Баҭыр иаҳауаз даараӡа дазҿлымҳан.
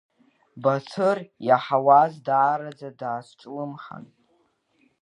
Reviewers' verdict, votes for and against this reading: accepted, 2, 1